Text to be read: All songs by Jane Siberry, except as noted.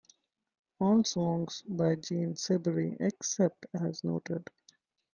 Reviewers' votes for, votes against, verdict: 2, 0, accepted